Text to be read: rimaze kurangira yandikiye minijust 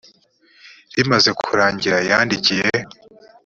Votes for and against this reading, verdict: 0, 3, rejected